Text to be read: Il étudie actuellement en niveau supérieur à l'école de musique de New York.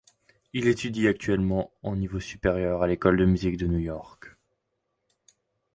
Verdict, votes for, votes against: accepted, 2, 0